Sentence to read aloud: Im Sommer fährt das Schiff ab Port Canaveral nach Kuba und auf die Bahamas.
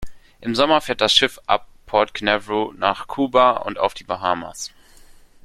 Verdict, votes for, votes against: rejected, 1, 2